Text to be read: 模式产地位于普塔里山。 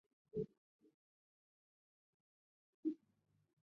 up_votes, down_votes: 0, 2